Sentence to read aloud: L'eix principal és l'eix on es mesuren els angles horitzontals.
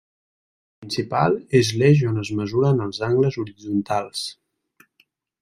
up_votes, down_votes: 0, 2